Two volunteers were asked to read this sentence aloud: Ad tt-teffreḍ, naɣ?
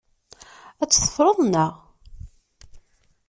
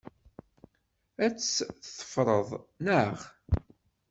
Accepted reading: first